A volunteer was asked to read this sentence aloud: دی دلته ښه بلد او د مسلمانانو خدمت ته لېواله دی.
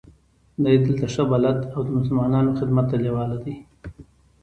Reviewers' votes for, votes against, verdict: 2, 0, accepted